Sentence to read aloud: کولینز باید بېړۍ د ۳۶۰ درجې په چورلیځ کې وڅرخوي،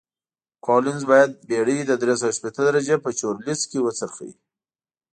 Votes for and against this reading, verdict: 0, 2, rejected